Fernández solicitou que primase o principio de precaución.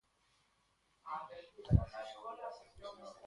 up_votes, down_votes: 0, 2